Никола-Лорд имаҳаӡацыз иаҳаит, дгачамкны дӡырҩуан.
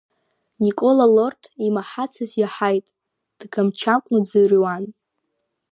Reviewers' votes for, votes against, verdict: 1, 2, rejected